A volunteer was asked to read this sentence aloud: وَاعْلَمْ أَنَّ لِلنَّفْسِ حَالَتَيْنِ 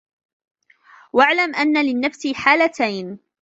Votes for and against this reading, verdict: 2, 1, accepted